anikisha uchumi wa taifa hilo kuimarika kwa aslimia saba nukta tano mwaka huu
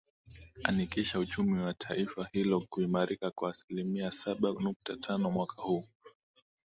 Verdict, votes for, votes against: accepted, 2, 0